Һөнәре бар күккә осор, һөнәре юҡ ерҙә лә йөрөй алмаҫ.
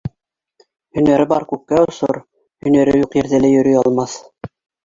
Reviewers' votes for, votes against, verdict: 1, 2, rejected